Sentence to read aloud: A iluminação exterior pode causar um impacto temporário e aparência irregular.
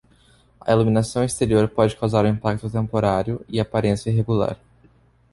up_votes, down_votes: 2, 0